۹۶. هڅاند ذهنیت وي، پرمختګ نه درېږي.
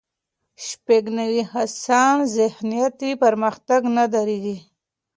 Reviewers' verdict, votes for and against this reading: rejected, 0, 2